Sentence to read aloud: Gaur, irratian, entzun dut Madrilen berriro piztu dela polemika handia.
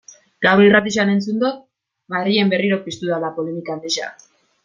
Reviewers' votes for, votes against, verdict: 1, 2, rejected